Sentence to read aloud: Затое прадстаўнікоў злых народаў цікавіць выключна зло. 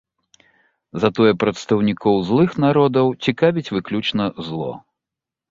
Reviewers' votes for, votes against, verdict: 2, 0, accepted